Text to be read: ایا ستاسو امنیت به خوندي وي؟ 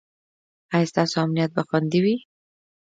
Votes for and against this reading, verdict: 2, 0, accepted